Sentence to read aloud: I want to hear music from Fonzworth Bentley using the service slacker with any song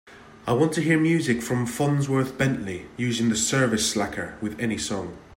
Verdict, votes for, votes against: accepted, 2, 0